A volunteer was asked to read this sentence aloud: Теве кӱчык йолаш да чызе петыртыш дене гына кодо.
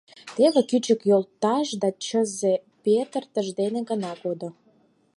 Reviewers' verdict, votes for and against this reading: rejected, 2, 4